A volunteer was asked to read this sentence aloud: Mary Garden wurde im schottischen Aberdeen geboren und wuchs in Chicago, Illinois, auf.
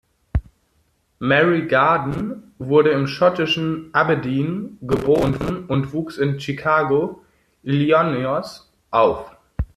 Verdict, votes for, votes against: rejected, 0, 2